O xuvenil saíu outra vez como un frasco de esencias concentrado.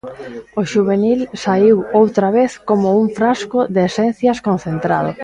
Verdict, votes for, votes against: accepted, 2, 1